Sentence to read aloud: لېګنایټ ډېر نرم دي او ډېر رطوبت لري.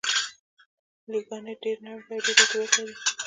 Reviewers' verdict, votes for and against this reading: accepted, 2, 0